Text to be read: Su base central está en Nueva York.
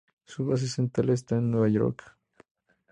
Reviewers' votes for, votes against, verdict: 2, 0, accepted